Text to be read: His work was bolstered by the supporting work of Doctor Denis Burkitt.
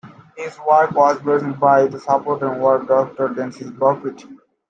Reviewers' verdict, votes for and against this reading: rejected, 1, 2